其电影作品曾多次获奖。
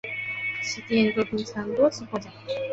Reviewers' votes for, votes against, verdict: 1, 3, rejected